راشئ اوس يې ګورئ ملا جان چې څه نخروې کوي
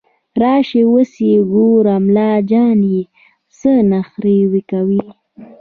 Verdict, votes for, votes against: rejected, 1, 2